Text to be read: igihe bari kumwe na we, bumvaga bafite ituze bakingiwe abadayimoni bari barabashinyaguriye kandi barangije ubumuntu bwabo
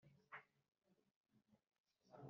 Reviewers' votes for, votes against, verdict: 0, 2, rejected